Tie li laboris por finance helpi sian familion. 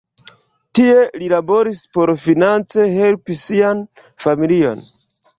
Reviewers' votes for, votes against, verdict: 1, 2, rejected